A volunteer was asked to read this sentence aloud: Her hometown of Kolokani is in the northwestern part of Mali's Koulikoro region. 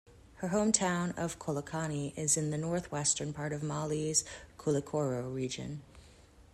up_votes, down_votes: 2, 1